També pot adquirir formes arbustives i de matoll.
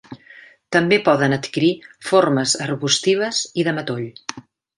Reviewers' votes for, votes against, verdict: 1, 2, rejected